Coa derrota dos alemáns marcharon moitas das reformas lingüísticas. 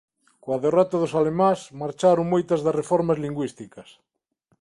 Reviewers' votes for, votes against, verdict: 2, 0, accepted